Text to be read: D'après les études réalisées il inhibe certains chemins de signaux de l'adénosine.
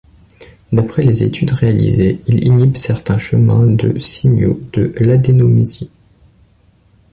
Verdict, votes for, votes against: rejected, 0, 2